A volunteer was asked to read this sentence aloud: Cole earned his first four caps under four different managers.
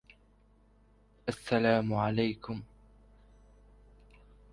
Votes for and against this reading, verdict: 0, 2, rejected